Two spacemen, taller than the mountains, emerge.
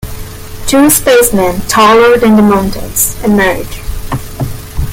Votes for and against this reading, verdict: 2, 1, accepted